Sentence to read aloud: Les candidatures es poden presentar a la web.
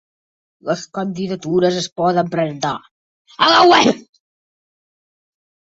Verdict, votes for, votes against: rejected, 0, 2